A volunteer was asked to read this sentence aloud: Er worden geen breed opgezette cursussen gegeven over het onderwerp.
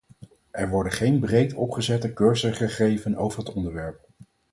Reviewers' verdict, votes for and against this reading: rejected, 0, 4